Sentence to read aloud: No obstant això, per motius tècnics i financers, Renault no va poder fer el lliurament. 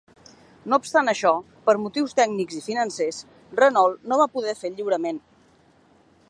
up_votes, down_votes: 2, 0